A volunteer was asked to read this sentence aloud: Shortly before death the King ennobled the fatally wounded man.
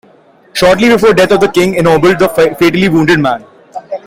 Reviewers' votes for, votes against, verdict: 0, 2, rejected